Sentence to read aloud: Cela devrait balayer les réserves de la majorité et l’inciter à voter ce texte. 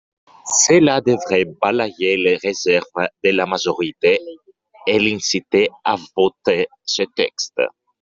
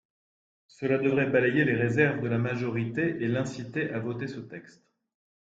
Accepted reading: second